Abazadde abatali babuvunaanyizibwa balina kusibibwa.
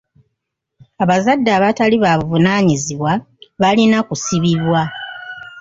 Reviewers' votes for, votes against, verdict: 2, 0, accepted